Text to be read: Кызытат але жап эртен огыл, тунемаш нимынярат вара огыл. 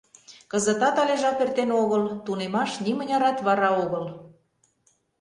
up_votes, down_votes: 2, 0